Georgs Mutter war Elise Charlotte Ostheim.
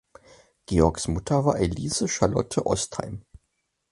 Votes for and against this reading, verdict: 4, 0, accepted